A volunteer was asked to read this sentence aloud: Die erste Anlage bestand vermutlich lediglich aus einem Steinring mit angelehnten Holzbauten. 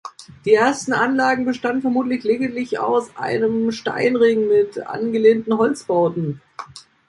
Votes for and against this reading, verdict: 1, 2, rejected